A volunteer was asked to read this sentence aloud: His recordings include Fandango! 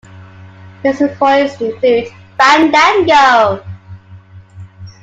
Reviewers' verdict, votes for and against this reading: accepted, 2, 1